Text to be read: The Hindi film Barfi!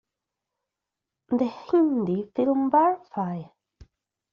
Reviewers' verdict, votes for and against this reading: accepted, 2, 1